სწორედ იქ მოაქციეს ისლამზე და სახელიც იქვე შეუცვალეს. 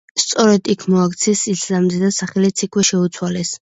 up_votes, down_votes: 2, 0